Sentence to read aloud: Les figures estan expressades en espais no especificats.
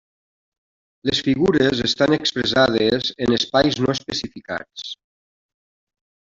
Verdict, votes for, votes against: rejected, 0, 2